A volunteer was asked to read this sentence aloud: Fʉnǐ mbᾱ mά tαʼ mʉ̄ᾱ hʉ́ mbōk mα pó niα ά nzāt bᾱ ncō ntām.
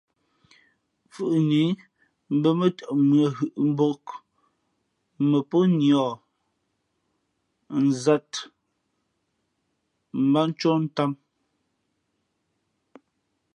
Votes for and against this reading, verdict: 1, 2, rejected